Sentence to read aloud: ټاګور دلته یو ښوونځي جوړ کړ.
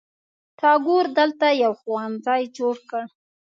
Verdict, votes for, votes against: accepted, 3, 1